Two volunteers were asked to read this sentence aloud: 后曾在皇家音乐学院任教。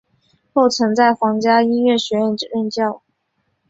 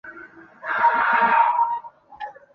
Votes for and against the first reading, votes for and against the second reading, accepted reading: 2, 0, 0, 5, first